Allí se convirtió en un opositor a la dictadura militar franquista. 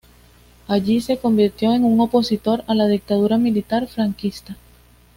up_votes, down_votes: 2, 0